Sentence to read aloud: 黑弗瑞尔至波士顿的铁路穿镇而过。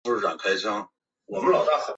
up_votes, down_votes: 0, 2